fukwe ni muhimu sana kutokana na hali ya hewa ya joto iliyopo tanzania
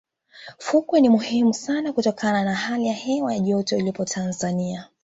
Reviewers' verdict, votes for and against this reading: accepted, 2, 0